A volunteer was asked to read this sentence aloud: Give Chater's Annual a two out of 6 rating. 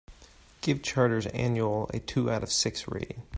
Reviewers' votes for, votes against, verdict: 0, 2, rejected